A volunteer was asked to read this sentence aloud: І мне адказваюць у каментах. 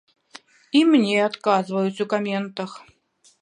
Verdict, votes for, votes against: accepted, 2, 0